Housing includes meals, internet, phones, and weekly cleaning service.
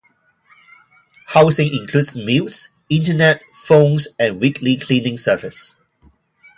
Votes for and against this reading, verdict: 2, 2, rejected